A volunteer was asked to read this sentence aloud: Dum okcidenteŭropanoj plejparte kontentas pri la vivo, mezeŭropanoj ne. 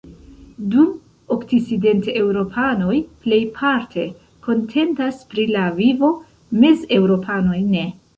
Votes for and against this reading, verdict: 0, 2, rejected